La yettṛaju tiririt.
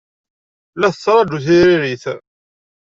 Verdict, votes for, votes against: rejected, 1, 2